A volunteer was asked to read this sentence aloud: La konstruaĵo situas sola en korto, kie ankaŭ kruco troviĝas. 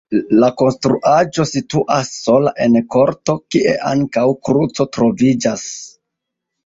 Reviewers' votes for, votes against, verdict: 1, 2, rejected